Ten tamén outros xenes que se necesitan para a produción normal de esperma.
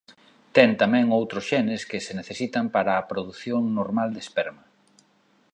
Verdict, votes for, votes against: accepted, 2, 0